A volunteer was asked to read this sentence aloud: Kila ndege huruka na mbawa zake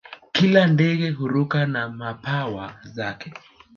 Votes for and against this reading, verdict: 1, 2, rejected